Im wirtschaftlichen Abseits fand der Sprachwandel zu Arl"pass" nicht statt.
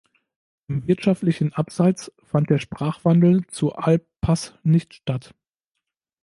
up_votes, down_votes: 2, 1